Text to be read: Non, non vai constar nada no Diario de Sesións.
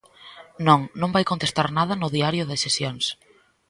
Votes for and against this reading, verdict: 1, 2, rejected